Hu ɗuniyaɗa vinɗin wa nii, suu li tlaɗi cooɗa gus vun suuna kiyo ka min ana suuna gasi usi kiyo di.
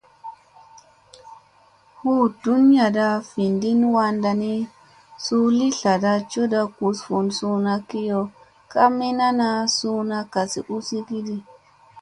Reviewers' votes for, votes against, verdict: 2, 0, accepted